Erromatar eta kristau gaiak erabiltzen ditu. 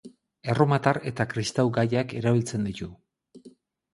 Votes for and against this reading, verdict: 2, 2, rejected